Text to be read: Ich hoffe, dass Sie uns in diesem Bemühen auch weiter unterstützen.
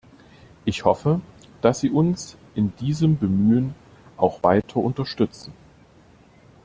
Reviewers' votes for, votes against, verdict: 2, 0, accepted